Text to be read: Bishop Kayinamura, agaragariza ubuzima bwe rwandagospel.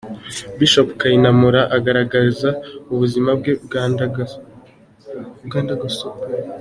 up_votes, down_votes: 0, 2